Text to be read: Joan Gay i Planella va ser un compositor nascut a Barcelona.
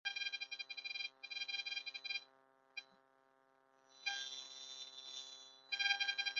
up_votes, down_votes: 1, 2